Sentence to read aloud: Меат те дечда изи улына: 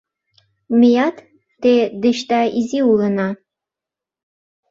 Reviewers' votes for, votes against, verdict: 2, 0, accepted